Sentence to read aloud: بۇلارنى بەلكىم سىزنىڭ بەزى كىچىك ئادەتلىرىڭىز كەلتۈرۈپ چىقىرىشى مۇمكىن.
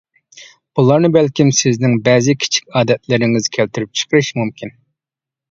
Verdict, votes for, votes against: accepted, 2, 1